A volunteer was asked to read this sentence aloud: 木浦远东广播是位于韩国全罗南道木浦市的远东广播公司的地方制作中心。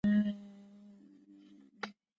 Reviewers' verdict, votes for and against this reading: rejected, 0, 2